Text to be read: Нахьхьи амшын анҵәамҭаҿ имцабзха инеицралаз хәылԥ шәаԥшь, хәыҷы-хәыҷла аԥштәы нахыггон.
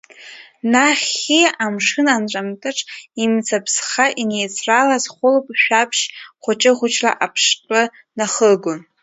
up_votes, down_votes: 1, 2